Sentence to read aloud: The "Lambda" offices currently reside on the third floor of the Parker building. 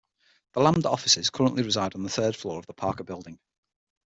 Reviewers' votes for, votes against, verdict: 6, 3, accepted